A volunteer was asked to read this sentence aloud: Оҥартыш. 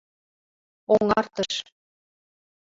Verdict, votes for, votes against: accepted, 3, 0